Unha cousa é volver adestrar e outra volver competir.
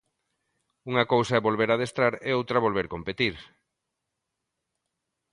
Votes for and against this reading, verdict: 2, 0, accepted